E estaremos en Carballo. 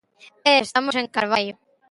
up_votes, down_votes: 0, 2